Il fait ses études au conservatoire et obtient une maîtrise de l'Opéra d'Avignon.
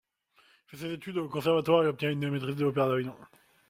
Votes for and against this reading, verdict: 1, 2, rejected